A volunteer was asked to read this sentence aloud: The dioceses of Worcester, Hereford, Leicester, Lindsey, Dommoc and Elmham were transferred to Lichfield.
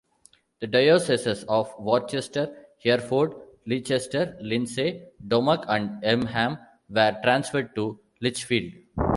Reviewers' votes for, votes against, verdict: 2, 0, accepted